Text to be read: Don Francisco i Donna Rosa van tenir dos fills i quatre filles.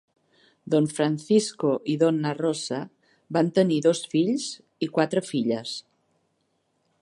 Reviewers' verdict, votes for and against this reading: accepted, 3, 0